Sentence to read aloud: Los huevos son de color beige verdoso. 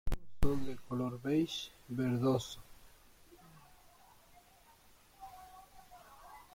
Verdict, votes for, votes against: rejected, 0, 2